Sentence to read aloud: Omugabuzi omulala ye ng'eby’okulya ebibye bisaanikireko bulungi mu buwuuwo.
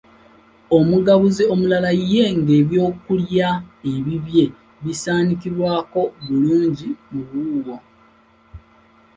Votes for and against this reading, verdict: 0, 2, rejected